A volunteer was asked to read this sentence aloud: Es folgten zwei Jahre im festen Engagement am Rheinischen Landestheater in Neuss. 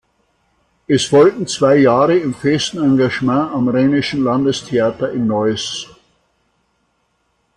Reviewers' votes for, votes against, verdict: 2, 0, accepted